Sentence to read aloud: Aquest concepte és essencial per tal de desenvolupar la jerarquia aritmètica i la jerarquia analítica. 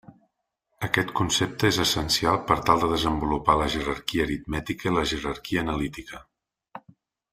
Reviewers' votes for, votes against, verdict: 3, 0, accepted